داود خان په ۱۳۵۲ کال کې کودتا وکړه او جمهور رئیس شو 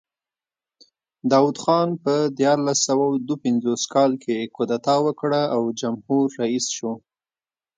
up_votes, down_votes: 0, 2